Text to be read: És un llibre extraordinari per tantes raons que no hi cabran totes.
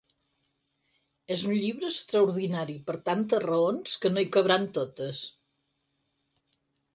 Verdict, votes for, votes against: accepted, 6, 0